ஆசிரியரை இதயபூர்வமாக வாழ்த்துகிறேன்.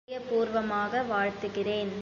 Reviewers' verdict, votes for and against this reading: rejected, 0, 2